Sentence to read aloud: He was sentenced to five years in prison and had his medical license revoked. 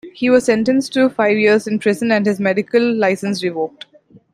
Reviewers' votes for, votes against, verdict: 1, 2, rejected